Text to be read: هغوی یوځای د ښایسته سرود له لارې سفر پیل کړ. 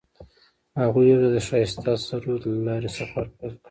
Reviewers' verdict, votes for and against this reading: accepted, 2, 0